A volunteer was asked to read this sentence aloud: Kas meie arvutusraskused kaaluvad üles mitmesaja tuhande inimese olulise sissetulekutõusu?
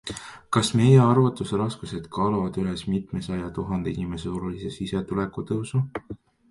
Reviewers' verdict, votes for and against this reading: rejected, 0, 2